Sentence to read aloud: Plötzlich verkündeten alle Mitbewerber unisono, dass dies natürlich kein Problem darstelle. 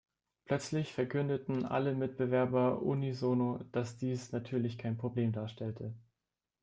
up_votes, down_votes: 0, 2